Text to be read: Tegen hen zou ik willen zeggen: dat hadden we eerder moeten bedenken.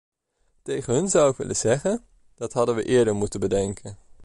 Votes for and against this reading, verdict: 1, 2, rejected